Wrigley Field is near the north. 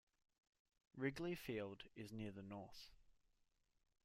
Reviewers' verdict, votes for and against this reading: accepted, 2, 0